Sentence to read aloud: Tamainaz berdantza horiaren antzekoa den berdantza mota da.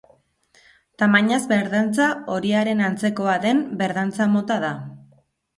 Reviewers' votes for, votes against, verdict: 2, 0, accepted